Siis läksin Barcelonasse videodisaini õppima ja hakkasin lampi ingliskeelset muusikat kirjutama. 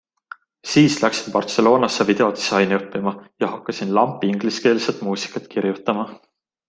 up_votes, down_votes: 2, 0